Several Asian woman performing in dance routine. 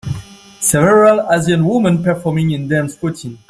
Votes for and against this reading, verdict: 2, 0, accepted